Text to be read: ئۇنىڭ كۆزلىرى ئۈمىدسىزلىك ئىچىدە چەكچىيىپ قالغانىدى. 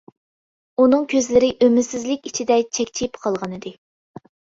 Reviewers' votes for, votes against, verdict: 2, 0, accepted